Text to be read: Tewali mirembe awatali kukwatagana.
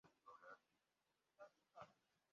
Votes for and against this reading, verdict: 0, 2, rejected